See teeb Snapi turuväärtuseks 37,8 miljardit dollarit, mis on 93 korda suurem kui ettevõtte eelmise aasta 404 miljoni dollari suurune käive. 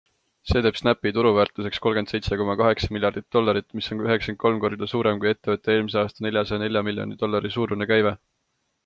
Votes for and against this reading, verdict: 0, 2, rejected